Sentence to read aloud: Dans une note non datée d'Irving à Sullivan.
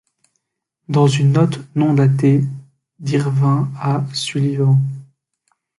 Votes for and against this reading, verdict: 0, 2, rejected